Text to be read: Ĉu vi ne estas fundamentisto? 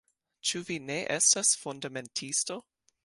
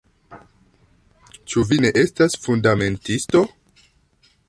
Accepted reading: first